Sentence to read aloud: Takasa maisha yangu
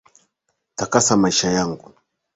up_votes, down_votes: 2, 0